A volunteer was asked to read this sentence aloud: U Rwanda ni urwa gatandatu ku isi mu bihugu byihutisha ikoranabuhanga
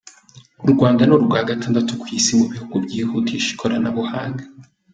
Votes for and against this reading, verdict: 3, 0, accepted